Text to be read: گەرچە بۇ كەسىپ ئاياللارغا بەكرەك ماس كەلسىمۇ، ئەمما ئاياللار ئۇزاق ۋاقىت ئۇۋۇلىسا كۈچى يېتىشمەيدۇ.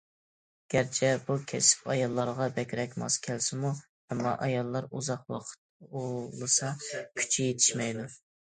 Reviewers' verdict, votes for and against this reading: accepted, 2, 0